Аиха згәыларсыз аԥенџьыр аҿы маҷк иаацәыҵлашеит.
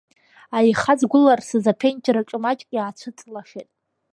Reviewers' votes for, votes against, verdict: 0, 2, rejected